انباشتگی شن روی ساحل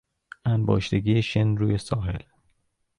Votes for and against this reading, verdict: 2, 0, accepted